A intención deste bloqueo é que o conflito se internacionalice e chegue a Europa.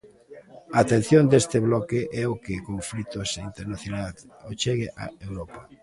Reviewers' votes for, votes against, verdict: 0, 2, rejected